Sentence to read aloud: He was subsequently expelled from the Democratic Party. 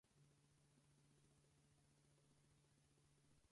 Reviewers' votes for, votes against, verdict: 0, 4, rejected